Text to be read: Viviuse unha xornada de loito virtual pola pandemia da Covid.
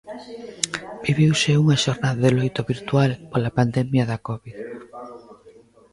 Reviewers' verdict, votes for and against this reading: rejected, 1, 2